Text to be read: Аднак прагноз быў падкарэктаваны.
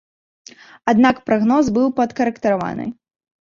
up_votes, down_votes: 1, 2